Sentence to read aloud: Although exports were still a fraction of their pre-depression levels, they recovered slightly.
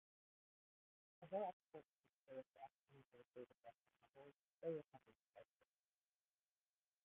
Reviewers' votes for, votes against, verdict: 0, 2, rejected